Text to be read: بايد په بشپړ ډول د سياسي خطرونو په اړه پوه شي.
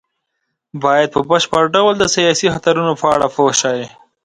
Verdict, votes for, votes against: accepted, 2, 0